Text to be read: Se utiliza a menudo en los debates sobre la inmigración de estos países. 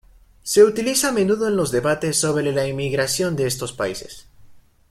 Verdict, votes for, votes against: rejected, 1, 2